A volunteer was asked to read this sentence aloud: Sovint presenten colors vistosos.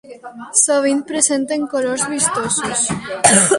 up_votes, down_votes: 0, 2